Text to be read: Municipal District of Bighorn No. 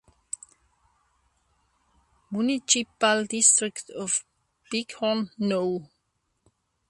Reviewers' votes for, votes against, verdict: 0, 2, rejected